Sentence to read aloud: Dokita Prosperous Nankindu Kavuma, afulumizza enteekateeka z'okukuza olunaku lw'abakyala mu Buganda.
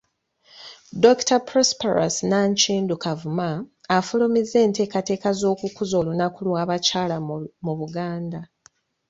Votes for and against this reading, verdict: 0, 2, rejected